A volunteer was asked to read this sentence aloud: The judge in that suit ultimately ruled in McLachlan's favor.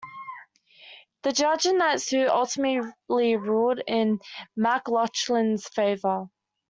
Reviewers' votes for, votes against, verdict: 1, 3, rejected